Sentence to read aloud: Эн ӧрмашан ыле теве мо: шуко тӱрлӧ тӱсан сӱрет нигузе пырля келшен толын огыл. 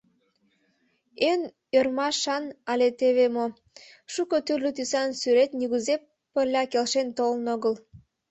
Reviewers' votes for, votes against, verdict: 1, 2, rejected